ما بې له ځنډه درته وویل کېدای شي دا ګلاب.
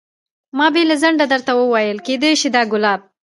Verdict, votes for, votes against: rejected, 1, 2